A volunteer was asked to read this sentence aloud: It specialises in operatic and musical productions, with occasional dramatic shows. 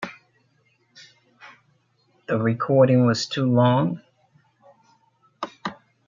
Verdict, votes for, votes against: rejected, 0, 2